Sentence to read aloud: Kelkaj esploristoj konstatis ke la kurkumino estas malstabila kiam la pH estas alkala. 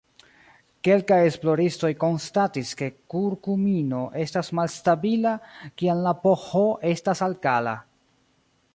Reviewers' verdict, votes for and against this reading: rejected, 0, 2